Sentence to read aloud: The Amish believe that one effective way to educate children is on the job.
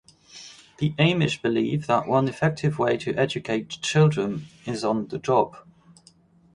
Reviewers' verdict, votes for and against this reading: accepted, 4, 0